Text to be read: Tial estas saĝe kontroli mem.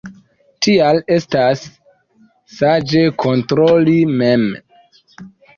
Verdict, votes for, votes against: accepted, 2, 1